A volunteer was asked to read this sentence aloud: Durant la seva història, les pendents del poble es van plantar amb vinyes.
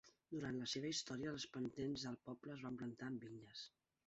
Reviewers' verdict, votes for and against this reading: accepted, 2, 0